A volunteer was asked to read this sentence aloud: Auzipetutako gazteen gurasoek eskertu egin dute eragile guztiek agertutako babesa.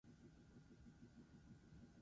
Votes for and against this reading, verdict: 0, 2, rejected